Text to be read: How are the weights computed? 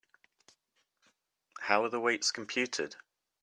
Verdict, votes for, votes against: accepted, 3, 0